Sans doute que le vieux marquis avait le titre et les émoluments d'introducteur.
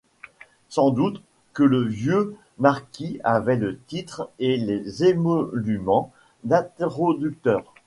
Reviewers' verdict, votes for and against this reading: accepted, 2, 1